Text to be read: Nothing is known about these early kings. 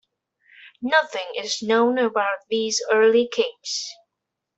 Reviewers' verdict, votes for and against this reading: rejected, 1, 2